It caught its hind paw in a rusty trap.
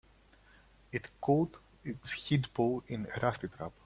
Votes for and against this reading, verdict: 1, 2, rejected